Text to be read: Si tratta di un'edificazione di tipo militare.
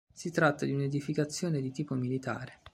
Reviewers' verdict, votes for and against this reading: accepted, 2, 0